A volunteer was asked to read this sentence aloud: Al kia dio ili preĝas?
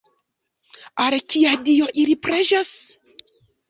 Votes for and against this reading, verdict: 2, 1, accepted